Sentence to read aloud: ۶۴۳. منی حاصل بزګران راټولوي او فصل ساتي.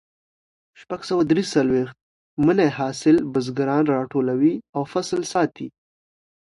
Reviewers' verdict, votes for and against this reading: rejected, 0, 2